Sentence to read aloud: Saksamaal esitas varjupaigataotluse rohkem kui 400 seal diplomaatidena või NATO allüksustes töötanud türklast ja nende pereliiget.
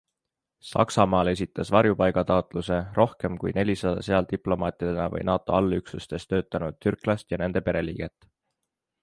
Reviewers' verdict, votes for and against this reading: rejected, 0, 2